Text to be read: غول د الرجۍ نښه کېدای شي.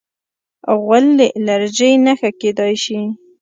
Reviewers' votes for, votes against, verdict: 2, 0, accepted